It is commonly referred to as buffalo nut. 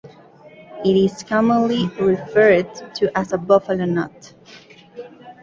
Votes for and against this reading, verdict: 0, 2, rejected